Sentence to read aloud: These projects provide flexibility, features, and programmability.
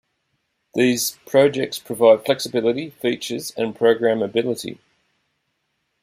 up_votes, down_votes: 2, 0